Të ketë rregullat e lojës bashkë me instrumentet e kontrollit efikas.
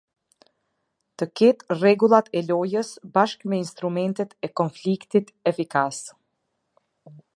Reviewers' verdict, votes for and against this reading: rejected, 1, 2